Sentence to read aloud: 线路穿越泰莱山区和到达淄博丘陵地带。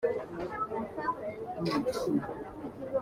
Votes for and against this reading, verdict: 0, 2, rejected